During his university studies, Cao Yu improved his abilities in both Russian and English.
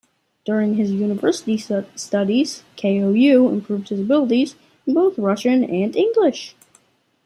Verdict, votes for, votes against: rejected, 1, 2